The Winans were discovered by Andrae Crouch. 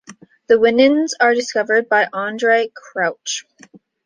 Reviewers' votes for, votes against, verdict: 2, 0, accepted